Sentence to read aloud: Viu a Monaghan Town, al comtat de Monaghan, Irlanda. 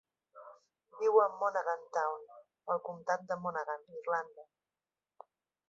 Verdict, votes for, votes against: accepted, 3, 0